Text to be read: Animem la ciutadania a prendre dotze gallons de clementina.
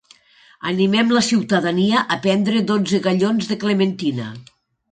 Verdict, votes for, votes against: accepted, 2, 0